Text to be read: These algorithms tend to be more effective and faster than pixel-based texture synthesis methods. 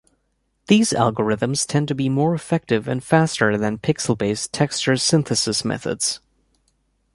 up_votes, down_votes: 2, 0